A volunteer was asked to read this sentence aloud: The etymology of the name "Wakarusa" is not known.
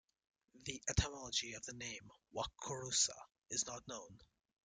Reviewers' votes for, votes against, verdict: 2, 1, accepted